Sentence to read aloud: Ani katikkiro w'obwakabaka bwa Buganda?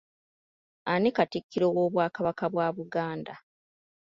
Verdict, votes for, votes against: accepted, 2, 1